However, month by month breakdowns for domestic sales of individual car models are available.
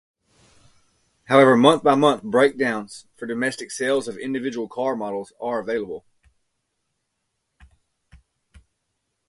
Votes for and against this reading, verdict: 2, 0, accepted